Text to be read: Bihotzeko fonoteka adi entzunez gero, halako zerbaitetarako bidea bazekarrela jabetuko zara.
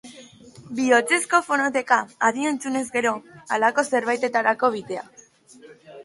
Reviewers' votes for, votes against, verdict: 1, 2, rejected